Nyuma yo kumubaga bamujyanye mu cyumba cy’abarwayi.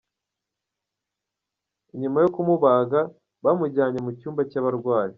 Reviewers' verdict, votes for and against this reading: rejected, 1, 2